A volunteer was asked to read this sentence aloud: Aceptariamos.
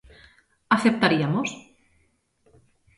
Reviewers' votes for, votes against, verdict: 0, 2, rejected